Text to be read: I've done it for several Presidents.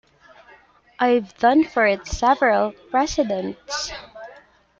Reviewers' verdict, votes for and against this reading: rejected, 0, 2